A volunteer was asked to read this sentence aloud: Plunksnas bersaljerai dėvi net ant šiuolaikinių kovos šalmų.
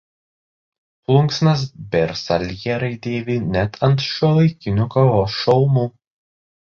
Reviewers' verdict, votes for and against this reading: rejected, 1, 2